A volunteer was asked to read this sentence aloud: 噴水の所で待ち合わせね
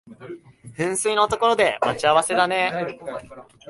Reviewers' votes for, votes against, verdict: 1, 2, rejected